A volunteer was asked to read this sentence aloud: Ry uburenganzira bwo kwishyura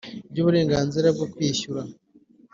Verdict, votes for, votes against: accepted, 4, 0